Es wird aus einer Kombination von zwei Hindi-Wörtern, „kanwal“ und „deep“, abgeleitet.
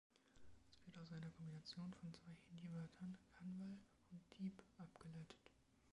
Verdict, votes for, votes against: rejected, 0, 2